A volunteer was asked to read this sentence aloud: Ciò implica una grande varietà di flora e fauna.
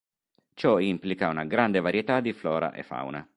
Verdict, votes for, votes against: accepted, 3, 0